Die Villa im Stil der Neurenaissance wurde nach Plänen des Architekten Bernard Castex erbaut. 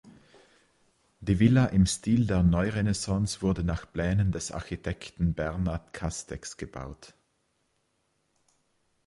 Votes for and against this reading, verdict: 0, 2, rejected